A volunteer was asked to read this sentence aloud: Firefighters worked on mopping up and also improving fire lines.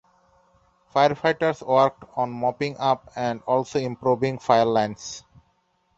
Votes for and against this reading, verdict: 2, 0, accepted